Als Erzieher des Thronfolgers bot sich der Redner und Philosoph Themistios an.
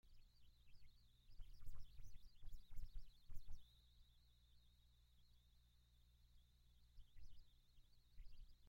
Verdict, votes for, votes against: rejected, 0, 2